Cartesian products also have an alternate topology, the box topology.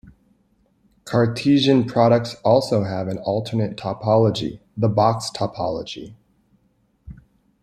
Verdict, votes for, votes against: accepted, 2, 0